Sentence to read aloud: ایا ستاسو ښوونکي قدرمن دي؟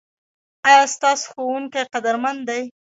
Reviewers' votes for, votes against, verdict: 1, 2, rejected